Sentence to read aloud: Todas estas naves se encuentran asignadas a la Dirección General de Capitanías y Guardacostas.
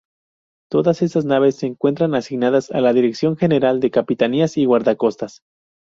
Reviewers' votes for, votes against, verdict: 0, 2, rejected